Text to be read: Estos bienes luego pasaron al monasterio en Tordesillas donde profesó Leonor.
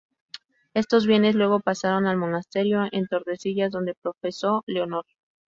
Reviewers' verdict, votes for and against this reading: accepted, 2, 0